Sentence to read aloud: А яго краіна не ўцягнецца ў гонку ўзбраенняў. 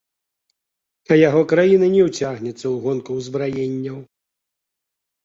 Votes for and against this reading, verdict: 2, 0, accepted